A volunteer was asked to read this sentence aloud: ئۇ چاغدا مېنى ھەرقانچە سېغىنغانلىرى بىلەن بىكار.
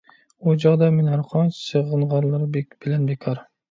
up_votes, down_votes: 1, 2